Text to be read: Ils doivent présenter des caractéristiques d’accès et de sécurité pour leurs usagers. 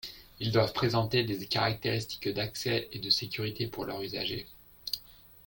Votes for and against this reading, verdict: 2, 1, accepted